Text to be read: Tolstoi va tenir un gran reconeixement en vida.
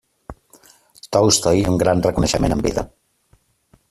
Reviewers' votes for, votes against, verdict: 0, 2, rejected